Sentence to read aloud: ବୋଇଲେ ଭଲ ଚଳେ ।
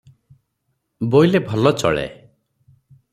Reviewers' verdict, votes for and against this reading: accepted, 6, 0